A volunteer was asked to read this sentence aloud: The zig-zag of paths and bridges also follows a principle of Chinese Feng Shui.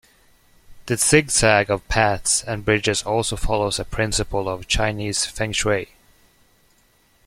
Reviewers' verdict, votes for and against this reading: accepted, 2, 0